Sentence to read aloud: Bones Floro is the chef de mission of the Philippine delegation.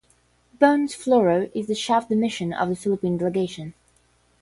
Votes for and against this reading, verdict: 10, 0, accepted